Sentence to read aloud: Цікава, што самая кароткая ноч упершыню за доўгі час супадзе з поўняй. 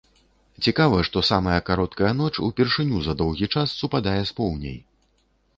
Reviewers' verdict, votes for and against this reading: rejected, 0, 3